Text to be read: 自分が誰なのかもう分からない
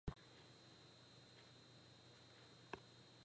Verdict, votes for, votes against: rejected, 0, 2